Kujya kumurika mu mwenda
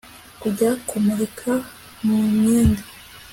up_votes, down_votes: 3, 0